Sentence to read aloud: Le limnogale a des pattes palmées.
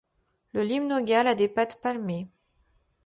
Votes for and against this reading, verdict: 2, 0, accepted